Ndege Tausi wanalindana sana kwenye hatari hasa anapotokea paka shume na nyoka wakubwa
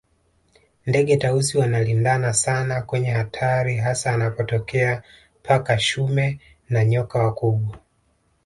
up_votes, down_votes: 0, 2